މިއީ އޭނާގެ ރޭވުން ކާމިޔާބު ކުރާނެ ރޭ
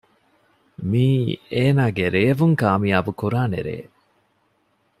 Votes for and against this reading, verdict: 2, 0, accepted